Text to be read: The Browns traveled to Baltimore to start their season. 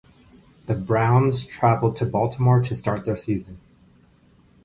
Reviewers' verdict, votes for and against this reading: accepted, 6, 0